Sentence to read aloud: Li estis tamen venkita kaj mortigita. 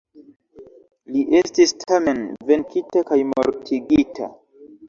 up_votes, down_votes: 2, 0